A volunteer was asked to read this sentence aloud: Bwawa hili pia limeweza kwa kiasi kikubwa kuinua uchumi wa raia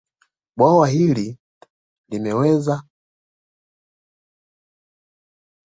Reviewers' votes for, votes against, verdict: 1, 2, rejected